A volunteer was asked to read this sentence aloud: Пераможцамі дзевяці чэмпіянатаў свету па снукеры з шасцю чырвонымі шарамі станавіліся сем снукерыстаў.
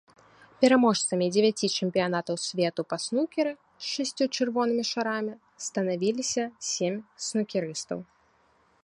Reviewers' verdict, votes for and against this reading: accepted, 2, 0